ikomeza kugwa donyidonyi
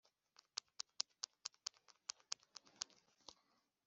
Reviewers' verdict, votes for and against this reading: rejected, 0, 4